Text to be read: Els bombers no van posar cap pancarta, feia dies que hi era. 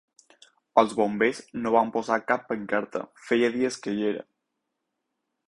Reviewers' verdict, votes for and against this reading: accepted, 6, 0